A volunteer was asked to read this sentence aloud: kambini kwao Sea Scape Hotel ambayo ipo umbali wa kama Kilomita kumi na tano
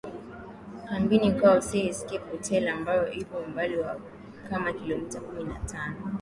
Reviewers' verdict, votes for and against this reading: accepted, 10, 2